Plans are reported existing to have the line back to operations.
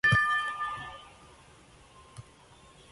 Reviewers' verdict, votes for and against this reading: rejected, 0, 2